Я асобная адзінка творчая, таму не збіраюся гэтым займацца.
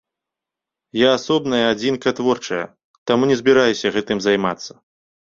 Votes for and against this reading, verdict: 2, 0, accepted